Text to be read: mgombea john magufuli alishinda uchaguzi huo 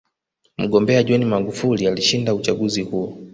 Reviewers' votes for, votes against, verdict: 2, 1, accepted